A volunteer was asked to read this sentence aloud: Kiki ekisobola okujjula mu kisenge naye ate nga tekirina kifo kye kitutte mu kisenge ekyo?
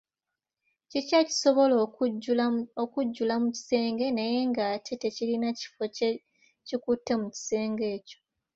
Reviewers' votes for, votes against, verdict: 1, 2, rejected